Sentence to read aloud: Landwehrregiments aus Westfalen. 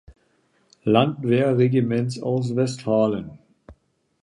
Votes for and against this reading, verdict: 2, 0, accepted